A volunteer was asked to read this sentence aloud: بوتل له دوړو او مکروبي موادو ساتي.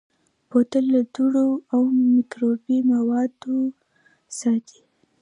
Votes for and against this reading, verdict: 1, 2, rejected